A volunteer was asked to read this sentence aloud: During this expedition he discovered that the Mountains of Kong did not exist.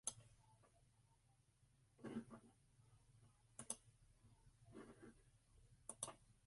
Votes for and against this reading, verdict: 0, 2, rejected